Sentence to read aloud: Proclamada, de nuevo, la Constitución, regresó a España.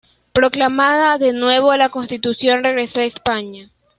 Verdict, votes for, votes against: accepted, 2, 0